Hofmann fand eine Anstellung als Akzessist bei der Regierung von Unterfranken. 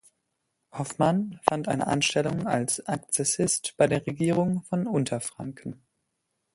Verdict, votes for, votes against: rejected, 1, 2